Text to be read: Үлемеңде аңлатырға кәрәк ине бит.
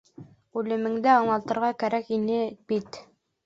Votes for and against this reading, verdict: 1, 2, rejected